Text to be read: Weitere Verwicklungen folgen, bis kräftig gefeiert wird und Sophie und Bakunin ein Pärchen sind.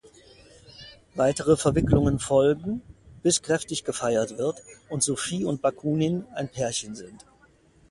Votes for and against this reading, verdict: 2, 0, accepted